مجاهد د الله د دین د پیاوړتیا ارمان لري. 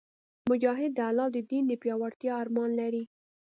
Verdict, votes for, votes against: accepted, 2, 0